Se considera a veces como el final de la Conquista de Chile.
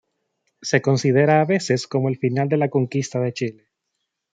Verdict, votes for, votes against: accepted, 2, 0